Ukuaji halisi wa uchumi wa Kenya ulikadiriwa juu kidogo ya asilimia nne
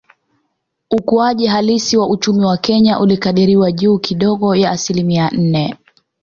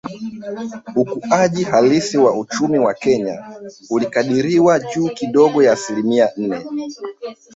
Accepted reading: first